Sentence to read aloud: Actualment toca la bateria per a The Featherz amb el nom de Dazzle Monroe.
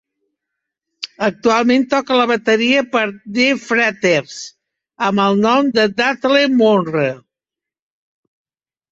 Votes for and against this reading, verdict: 1, 2, rejected